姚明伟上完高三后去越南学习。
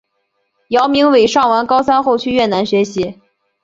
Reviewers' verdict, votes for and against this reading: accepted, 4, 0